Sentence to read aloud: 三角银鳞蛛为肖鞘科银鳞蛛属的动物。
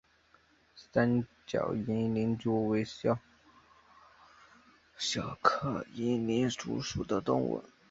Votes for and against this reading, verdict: 1, 4, rejected